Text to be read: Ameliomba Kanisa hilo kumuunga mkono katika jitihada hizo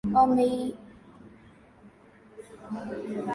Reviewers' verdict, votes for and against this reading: rejected, 0, 2